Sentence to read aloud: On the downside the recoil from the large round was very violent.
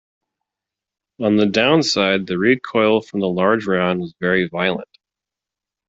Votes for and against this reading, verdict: 2, 0, accepted